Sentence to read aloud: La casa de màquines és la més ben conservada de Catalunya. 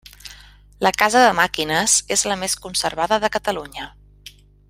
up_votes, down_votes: 1, 2